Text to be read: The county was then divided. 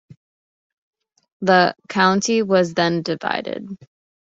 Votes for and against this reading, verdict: 2, 0, accepted